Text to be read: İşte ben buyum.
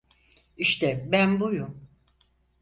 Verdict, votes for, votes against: accepted, 4, 0